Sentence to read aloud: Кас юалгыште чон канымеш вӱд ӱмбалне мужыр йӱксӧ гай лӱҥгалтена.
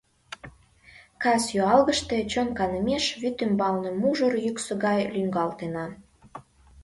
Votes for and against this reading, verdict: 2, 0, accepted